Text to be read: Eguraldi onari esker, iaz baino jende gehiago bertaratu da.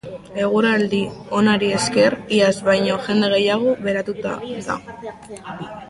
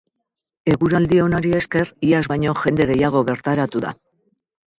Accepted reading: second